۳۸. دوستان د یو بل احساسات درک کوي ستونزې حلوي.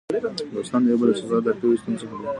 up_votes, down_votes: 0, 2